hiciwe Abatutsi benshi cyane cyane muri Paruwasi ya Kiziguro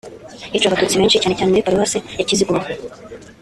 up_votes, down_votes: 2, 1